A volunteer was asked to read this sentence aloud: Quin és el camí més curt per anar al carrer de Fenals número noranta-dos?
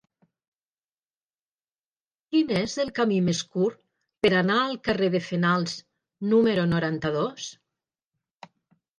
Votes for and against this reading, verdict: 2, 0, accepted